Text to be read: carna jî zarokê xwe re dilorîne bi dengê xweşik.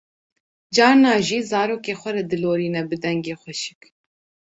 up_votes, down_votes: 2, 0